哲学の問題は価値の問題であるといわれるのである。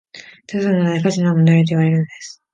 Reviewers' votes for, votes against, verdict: 0, 2, rejected